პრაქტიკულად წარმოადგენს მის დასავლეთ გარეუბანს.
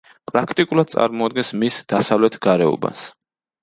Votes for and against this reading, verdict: 2, 0, accepted